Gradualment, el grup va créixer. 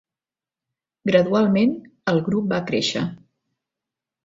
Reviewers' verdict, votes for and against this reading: accepted, 2, 0